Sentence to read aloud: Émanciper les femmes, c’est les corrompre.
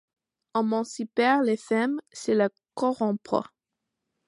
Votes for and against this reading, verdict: 0, 2, rejected